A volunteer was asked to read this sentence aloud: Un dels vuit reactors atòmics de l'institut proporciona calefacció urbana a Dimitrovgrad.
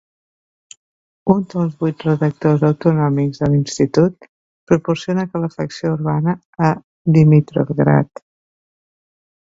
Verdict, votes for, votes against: rejected, 1, 2